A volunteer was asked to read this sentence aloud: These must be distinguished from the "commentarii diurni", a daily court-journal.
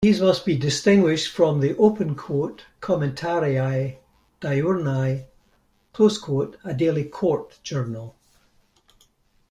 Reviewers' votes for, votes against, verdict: 0, 2, rejected